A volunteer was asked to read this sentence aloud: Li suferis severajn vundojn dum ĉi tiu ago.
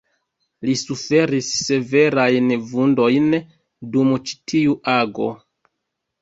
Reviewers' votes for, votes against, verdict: 2, 1, accepted